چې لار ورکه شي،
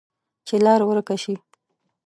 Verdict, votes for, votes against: accepted, 2, 0